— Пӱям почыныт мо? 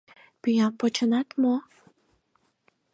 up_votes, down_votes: 0, 4